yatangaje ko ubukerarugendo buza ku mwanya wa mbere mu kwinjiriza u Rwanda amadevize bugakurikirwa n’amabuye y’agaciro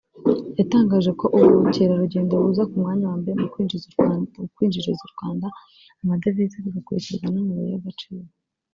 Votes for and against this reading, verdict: 0, 2, rejected